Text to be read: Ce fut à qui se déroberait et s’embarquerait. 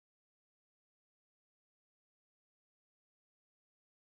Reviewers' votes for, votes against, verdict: 0, 2, rejected